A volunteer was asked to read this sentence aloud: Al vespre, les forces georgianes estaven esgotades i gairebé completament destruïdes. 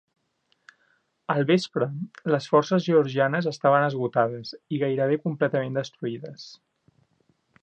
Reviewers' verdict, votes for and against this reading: accepted, 3, 0